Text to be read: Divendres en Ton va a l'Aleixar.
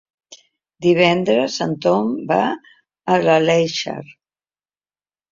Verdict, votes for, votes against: rejected, 1, 2